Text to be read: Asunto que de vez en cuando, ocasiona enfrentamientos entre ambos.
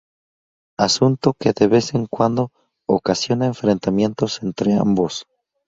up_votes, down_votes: 2, 0